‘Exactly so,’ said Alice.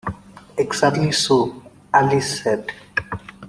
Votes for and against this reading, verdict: 0, 2, rejected